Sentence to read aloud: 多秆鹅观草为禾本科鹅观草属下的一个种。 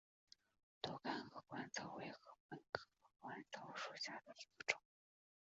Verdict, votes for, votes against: rejected, 0, 4